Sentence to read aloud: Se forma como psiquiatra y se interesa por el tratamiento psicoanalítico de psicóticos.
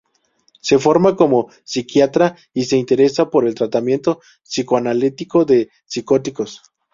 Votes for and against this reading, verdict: 2, 0, accepted